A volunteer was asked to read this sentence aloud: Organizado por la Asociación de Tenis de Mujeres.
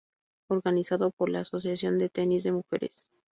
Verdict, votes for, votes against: accepted, 2, 0